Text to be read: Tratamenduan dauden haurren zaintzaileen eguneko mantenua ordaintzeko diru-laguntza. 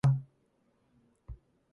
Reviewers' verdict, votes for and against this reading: rejected, 0, 2